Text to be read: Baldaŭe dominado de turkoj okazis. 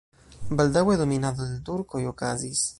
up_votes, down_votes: 0, 2